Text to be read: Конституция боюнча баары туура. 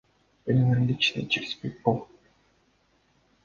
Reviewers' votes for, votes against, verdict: 0, 2, rejected